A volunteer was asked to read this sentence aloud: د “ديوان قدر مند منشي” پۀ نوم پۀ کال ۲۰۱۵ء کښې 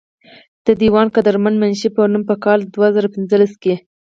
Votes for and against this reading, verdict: 0, 2, rejected